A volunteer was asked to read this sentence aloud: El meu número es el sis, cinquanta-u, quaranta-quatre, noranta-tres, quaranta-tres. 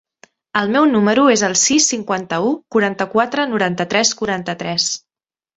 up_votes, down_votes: 4, 0